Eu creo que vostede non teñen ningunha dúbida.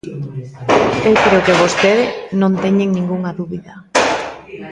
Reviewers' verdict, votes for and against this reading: rejected, 1, 2